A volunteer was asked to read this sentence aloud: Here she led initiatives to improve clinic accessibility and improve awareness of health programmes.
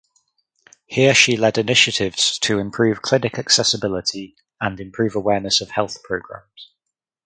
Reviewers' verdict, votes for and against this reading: accepted, 4, 0